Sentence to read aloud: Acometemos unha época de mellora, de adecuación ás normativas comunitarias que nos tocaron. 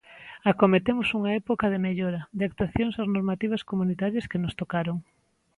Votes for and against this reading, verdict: 0, 2, rejected